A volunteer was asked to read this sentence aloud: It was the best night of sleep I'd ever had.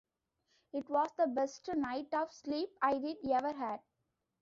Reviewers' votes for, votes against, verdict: 0, 2, rejected